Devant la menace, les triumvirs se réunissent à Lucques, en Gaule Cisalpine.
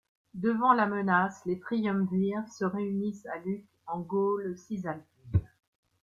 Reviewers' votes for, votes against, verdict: 1, 2, rejected